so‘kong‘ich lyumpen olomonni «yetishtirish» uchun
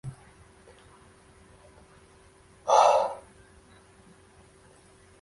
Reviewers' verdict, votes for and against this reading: rejected, 0, 2